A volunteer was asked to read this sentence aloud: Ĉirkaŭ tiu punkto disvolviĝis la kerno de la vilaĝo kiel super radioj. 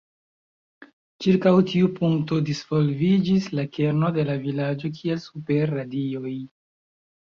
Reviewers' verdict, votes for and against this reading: rejected, 0, 2